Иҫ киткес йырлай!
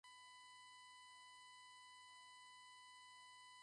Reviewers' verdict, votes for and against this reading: rejected, 1, 2